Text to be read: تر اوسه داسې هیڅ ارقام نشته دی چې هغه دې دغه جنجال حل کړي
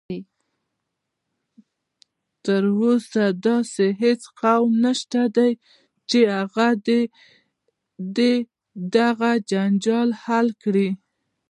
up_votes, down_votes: 0, 2